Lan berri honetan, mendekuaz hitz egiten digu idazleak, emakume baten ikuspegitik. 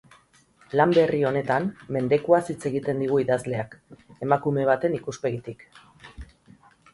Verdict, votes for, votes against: accepted, 4, 0